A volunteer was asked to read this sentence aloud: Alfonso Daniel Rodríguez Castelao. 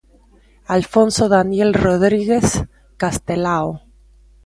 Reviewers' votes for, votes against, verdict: 2, 0, accepted